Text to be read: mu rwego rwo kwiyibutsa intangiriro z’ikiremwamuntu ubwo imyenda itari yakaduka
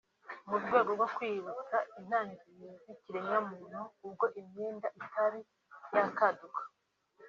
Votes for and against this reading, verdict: 2, 0, accepted